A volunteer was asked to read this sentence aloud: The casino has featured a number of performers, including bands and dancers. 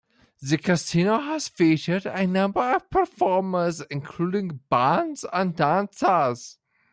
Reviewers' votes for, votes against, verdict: 2, 1, accepted